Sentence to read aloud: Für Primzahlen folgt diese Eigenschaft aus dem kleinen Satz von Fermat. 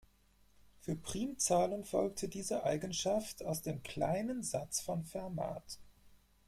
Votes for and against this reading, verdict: 4, 0, accepted